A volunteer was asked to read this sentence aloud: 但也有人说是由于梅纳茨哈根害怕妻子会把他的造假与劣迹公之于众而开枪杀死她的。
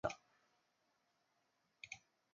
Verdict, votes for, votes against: rejected, 0, 2